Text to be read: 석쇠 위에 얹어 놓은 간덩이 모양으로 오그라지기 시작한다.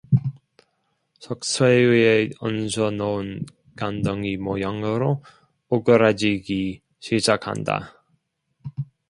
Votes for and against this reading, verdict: 2, 1, accepted